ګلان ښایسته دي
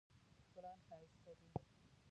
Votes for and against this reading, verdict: 1, 2, rejected